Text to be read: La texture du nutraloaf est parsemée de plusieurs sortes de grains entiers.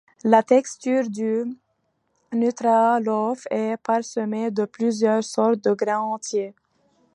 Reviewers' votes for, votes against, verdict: 0, 2, rejected